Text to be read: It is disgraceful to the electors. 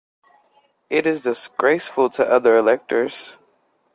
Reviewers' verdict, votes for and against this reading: rejected, 0, 2